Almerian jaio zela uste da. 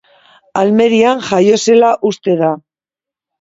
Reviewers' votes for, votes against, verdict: 2, 0, accepted